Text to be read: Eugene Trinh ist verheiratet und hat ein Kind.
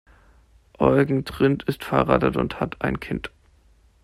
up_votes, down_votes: 0, 2